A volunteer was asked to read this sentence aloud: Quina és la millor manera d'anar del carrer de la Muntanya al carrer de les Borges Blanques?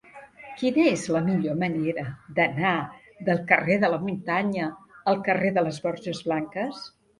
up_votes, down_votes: 1, 2